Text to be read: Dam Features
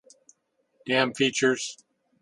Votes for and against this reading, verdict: 2, 0, accepted